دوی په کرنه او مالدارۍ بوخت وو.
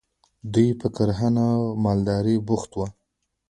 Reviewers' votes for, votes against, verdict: 1, 2, rejected